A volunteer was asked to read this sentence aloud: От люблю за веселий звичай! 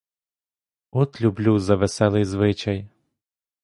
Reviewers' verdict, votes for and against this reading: accepted, 2, 0